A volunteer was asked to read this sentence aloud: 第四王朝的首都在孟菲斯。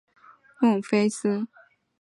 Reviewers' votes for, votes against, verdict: 0, 3, rejected